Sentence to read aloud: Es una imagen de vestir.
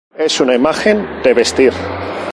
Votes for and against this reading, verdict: 2, 0, accepted